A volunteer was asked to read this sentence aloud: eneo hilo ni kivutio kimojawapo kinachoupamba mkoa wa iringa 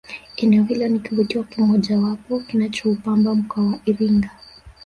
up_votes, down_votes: 1, 2